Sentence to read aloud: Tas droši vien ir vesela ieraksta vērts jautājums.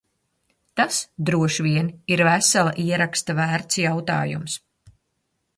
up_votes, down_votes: 3, 0